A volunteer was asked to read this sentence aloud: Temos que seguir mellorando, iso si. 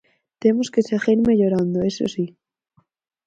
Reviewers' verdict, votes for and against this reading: accepted, 4, 0